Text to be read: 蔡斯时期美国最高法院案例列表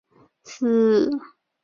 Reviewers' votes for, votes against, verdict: 0, 2, rejected